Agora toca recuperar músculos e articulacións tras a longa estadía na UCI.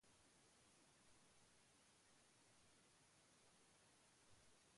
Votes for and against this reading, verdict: 1, 2, rejected